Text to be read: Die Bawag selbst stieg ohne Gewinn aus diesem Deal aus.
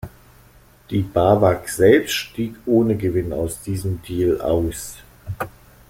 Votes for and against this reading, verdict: 2, 0, accepted